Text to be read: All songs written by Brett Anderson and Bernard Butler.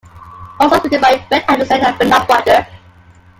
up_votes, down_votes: 0, 2